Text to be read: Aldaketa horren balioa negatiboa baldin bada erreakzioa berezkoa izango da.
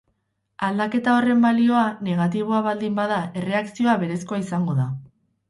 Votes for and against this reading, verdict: 2, 2, rejected